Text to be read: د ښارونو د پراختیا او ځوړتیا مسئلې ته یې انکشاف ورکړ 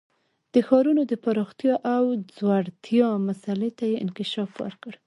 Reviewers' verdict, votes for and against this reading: accepted, 2, 1